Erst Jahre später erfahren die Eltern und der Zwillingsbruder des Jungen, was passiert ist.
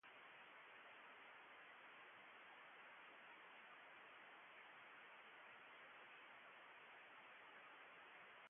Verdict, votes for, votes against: rejected, 0, 2